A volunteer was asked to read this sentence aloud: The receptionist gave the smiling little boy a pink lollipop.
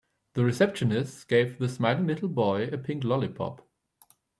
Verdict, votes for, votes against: accepted, 2, 0